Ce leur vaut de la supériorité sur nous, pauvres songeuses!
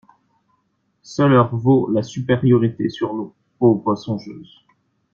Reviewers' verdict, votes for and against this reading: rejected, 1, 2